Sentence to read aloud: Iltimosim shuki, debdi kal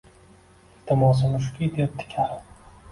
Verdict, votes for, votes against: accepted, 2, 0